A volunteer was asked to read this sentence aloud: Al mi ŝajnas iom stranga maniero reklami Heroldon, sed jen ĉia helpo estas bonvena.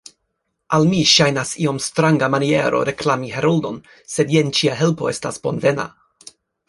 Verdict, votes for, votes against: rejected, 1, 2